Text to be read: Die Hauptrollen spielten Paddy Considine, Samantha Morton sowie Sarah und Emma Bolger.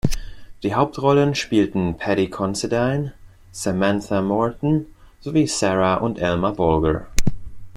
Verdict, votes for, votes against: rejected, 0, 2